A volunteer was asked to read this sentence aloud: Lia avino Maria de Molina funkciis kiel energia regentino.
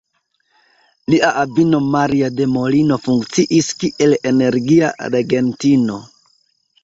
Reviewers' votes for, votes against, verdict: 0, 2, rejected